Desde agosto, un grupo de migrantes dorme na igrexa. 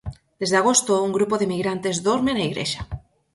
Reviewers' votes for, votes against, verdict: 4, 0, accepted